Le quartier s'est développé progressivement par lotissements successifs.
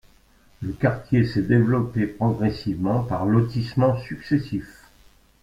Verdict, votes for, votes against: accepted, 2, 0